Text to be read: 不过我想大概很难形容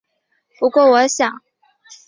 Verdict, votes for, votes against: rejected, 1, 3